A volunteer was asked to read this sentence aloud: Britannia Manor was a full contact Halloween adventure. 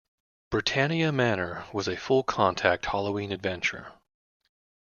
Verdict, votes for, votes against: accepted, 2, 1